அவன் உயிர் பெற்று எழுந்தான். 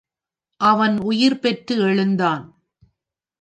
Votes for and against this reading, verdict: 3, 0, accepted